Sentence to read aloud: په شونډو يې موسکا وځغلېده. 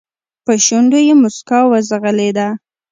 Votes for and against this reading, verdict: 1, 2, rejected